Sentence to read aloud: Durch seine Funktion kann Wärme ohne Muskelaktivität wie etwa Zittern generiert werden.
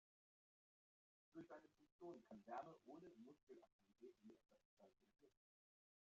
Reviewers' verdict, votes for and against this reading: rejected, 0, 2